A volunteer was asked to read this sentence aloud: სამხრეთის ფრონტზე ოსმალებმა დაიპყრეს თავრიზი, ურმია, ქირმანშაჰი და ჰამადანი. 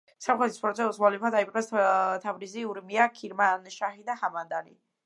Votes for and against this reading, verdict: 2, 0, accepted